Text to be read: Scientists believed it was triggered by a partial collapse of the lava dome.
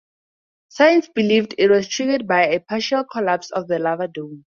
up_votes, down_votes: 0, 2